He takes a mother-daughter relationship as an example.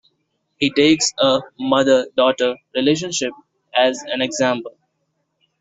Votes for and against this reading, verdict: 2, 0, accepted